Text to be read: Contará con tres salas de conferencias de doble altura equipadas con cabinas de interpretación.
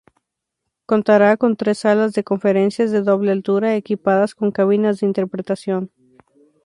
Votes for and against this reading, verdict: 0, 2, rejected